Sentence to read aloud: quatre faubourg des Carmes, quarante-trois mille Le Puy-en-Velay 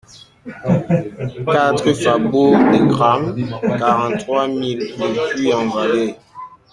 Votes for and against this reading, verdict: 0, 2, rejected